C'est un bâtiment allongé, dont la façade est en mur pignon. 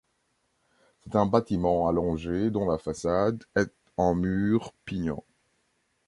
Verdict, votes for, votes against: accepted, 2, 0